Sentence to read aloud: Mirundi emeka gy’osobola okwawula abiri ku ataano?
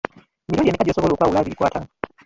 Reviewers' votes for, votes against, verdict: 0, 2, rejected